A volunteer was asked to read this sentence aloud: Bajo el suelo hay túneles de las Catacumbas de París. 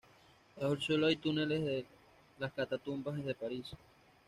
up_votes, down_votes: 2, 1